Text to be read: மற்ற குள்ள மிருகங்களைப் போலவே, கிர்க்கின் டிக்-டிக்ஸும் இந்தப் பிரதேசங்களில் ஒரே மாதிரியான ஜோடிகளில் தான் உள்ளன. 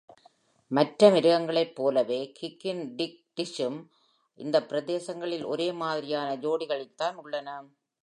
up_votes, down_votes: 1, 2